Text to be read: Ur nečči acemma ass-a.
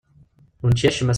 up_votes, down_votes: 1, 2